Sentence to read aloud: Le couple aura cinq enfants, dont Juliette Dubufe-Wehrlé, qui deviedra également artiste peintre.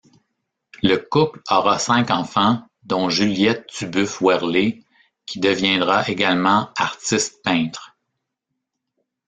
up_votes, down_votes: 1, 2